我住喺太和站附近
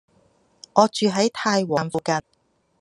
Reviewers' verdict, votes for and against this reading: rejected, 1, 2